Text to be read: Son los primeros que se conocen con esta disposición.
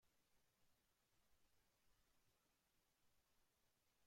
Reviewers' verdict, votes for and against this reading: rejected, 0, 2